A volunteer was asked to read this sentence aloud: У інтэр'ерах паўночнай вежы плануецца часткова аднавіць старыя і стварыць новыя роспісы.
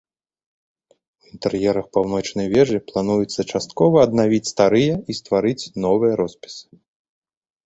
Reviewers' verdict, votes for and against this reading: accepted, 2, 0